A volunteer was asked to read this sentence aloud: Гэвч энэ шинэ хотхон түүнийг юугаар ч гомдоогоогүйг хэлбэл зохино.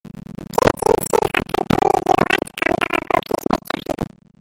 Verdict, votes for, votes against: rejected, 0, 2